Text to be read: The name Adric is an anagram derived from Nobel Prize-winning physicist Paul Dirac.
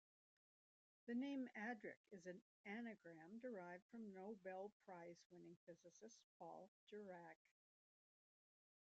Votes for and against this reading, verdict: 1, 2, rejected